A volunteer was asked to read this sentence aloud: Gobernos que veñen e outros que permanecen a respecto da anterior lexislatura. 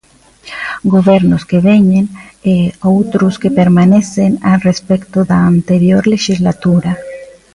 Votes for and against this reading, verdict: 2, 0, accepted